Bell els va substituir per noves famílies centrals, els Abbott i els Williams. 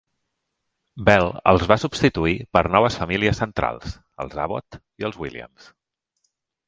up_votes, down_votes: 3, 0